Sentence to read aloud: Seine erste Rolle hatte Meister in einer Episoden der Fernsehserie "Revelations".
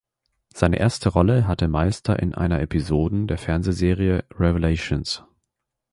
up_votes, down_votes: 2, 0